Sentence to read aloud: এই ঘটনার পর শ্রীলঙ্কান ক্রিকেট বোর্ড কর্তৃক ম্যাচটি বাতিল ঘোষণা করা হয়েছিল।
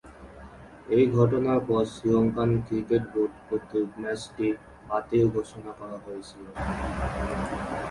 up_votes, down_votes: 1, 2